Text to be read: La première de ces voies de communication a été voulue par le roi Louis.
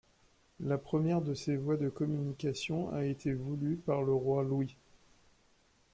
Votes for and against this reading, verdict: 2, 0, accepted